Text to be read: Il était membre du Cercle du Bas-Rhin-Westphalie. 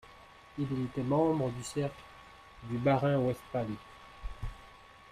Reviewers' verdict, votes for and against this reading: rejected, 0, 2